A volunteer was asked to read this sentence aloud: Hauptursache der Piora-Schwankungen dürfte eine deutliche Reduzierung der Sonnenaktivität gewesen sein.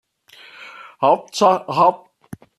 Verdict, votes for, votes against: rejected, 0, 2